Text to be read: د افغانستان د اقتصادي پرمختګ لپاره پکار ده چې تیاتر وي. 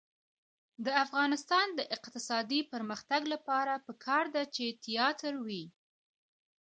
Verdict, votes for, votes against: rejected, 1, 2